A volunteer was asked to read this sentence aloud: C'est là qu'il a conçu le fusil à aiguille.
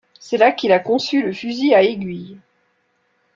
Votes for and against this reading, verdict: 2, 1, accepted